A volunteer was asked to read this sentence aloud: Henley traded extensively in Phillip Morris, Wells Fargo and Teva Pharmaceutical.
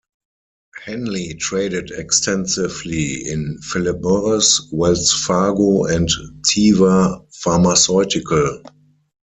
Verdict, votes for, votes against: accepted, 4, 0